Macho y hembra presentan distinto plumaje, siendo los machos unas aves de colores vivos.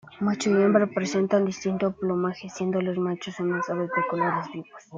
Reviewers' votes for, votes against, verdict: 2, 0, accepted